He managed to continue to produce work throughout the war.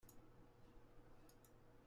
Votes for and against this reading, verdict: 0, 2, rejected